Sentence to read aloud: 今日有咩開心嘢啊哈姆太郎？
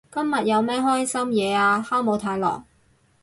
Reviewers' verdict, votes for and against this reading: rejected, 0, 2